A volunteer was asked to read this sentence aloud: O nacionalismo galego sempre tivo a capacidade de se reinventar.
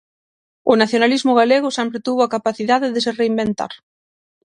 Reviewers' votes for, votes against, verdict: 0, 6, rejected